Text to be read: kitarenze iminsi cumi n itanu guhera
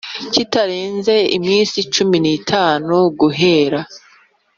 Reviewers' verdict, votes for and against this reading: accepted, 2, 0